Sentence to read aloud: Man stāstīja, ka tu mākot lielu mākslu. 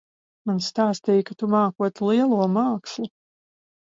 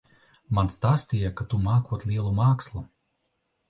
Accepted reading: second